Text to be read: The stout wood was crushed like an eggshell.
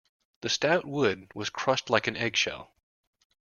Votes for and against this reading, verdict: 2, 0, accepted